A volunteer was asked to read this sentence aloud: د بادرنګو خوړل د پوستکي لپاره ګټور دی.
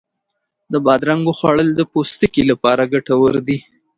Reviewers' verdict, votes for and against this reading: accepted, 2, 1